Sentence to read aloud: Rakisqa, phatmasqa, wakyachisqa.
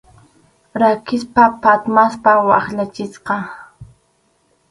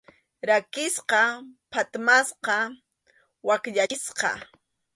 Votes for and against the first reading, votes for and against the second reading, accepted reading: 0, 2, 2, 0, second